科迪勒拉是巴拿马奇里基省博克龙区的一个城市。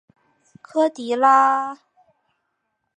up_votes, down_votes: 0, 3